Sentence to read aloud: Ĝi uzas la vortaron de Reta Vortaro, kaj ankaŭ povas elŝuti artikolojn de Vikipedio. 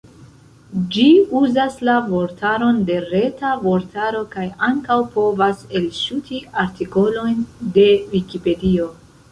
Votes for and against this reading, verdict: 0, 2, rejected